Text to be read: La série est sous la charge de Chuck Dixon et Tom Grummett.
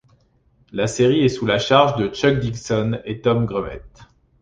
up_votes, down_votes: 2, 0